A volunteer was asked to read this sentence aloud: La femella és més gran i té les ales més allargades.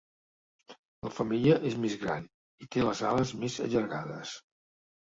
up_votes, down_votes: 2, 0